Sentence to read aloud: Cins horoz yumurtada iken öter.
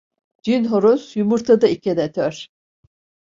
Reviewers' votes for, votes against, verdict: 0, 2, rejected